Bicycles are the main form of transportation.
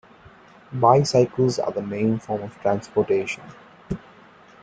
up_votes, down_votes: 2, 0